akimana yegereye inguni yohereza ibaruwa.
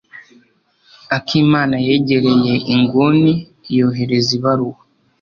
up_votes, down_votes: 2, 0